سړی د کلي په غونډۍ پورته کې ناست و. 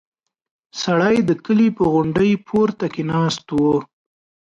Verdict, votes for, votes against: accepted, 2, 0